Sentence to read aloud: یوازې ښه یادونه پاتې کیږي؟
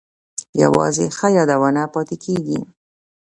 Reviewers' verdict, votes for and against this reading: rejected, 1, 2